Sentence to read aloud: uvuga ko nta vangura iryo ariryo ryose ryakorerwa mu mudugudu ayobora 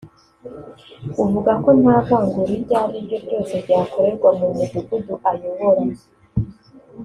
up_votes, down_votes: 2, 0